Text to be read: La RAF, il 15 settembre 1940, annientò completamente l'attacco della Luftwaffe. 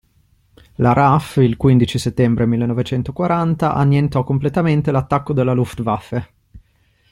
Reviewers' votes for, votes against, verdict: 0, 2, rejected